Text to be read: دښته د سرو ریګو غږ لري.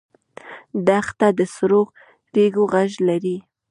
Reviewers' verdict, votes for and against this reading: accepted, 2, 0